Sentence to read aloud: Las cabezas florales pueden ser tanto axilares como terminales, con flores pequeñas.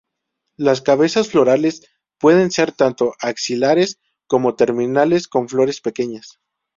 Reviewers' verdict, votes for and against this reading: accepted, 4, 0